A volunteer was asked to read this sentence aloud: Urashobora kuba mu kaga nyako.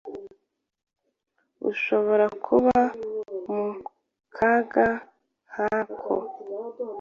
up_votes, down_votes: 1, 2